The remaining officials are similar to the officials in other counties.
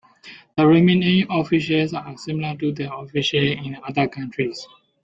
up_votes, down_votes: 1, 2